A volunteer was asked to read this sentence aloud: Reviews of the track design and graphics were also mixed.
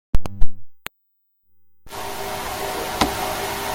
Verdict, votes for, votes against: rejected, 0, 2